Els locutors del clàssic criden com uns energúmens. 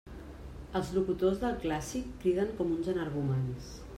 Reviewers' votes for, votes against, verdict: 2, 0, accepted